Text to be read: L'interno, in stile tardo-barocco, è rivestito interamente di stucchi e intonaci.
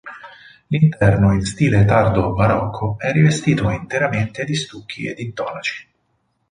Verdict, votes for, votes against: rejected, 0, 4